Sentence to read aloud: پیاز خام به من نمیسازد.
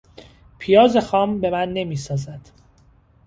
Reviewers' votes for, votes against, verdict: 2, 0, accepted